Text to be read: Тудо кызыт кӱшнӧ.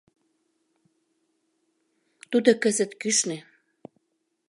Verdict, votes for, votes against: accepted, 2, 0